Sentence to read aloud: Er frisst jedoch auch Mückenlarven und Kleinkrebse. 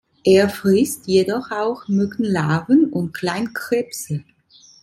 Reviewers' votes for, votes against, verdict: 2, 0, accepted